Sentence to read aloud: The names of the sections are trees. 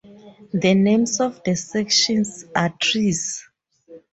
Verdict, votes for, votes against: accepted, 4, 0